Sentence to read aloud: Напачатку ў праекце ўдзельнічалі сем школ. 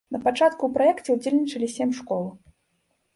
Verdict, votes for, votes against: accepted, 2, 0